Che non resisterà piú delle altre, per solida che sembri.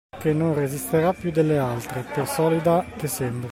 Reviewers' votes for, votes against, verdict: 2, 0, accepted